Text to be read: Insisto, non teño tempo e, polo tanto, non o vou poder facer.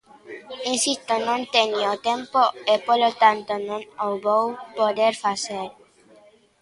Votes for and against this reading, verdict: 2, 0, accepted